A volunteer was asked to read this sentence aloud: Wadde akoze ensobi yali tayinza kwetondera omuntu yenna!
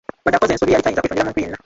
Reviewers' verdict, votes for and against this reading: rejected, 0, 2